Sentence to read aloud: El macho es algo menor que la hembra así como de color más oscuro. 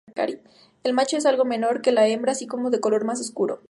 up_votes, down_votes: 0, 2